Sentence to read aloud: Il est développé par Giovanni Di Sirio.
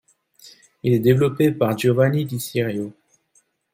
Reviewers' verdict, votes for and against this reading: accepted, 2, 0